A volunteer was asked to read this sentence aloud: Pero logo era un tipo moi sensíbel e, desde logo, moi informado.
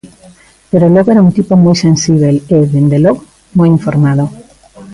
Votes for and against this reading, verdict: 0, 2, rejected